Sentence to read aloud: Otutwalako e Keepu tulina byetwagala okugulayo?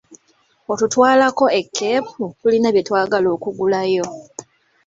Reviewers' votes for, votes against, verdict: 3, 0, accepted